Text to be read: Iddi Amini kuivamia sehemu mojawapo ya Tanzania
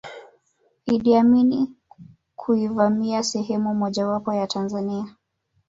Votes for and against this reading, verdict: 1, 2, rejected